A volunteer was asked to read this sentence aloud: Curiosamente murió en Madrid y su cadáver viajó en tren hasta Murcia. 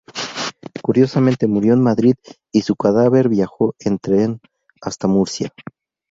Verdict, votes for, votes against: rejected, 0, 2